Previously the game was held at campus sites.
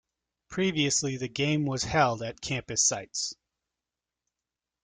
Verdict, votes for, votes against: accepted, 2, 0